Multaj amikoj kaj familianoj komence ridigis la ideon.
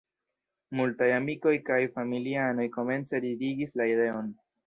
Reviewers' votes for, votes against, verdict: 1, 2, rejected